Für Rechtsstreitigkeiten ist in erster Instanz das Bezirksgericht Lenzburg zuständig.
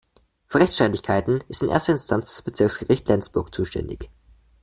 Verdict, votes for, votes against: rejected, 1, 2